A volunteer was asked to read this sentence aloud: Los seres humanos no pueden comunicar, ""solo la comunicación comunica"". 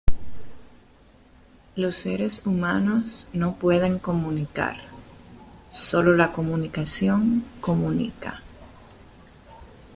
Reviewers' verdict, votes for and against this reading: accepted, 2, 0